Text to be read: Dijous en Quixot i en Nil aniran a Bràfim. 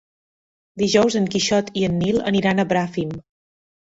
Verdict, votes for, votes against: accepted, 3, 0